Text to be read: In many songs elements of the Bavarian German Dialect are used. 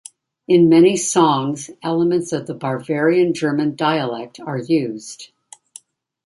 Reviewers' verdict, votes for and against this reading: accepted, 2, 0